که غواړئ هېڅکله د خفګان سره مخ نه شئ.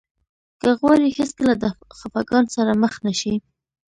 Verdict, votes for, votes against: rejected, 1, 2